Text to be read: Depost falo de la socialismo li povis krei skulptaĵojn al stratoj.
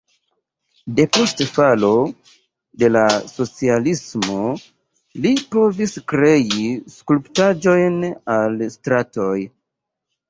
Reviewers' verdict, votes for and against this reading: rejected, 0, 3